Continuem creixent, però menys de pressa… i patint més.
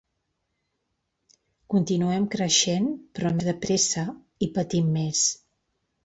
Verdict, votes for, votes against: rejected, 0, 2